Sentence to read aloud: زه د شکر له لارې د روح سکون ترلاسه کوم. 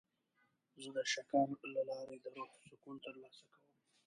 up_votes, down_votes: 0, 2